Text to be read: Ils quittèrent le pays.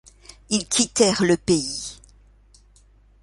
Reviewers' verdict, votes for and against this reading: accepted, 2, 0